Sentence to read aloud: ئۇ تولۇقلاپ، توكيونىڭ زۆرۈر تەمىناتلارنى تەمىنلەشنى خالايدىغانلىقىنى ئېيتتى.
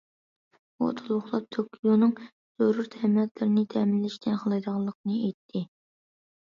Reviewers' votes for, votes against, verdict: 1, 2, rejected